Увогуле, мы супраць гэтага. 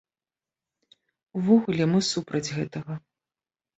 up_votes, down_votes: 2, 0